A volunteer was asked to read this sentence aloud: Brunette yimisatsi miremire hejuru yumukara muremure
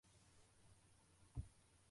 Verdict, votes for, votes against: rejected, 0, 2